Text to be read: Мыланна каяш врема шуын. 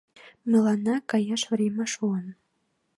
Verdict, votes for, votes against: accepted, 2, 0